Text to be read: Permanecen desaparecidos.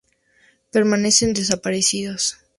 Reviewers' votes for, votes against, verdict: 2, 0, accepted